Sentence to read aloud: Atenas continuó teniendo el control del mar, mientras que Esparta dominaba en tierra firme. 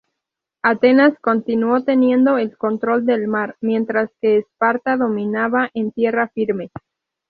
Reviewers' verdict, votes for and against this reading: accepted, 2, 0